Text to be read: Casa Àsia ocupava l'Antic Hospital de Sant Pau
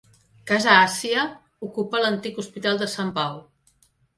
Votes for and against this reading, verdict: 1, 2, rejected